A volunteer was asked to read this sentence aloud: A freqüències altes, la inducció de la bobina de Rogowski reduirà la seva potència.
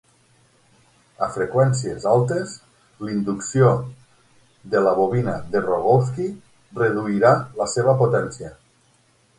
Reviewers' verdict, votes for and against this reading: rejected, 3, 6